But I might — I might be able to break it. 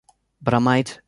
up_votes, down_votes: 1, 2